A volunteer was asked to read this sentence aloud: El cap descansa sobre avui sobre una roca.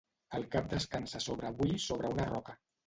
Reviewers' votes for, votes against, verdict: 0, 2, rejected